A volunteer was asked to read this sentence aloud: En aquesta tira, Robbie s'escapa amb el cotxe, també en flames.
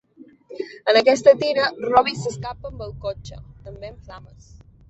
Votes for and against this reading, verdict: 1, 2, rejected